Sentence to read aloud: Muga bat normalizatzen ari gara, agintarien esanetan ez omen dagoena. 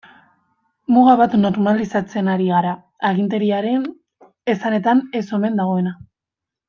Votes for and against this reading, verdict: 1, 2, rejected